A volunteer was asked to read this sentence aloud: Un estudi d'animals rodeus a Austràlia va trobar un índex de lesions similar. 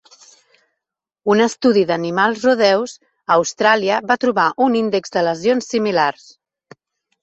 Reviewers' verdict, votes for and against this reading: rejected, 1, 2